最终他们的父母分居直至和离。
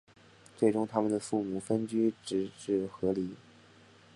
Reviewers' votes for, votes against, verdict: 2, 1, accepted